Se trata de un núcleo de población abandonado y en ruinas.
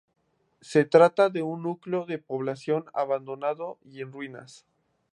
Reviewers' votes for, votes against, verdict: 2, 0, accepted